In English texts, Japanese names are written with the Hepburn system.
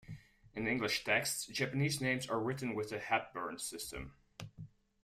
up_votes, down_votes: 1, 2